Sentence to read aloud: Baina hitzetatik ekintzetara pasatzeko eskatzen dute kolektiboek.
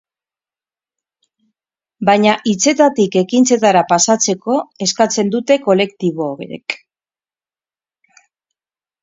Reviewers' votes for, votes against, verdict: 4, 2, accepted